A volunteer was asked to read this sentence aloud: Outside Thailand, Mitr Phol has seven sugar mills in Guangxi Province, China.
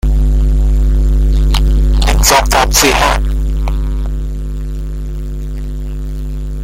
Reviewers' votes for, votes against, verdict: 0, 2, rejected